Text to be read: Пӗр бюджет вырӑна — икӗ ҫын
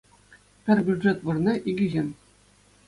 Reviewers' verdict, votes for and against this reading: accepted, 2, 0